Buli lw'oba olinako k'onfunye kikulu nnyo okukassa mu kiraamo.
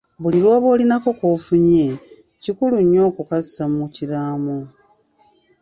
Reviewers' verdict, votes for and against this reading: accepted, 2, 0